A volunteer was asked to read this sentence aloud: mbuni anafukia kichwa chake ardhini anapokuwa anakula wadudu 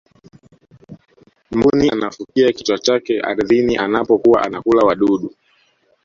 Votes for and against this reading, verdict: 1, 2, rejected